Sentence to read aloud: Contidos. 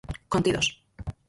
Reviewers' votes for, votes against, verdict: 0, 4, rejected